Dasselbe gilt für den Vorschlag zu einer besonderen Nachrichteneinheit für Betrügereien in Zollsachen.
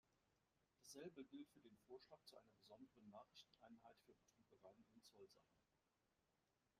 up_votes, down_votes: 1, 2